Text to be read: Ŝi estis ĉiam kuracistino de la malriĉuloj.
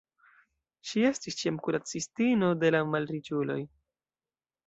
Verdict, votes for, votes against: rejected, 1, 2